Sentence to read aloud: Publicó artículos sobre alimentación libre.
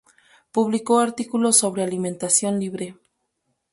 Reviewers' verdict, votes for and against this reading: accepted, 2, 0